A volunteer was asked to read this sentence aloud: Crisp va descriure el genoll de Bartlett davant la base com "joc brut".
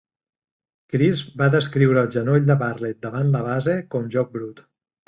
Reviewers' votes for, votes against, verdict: 2, 0, accepted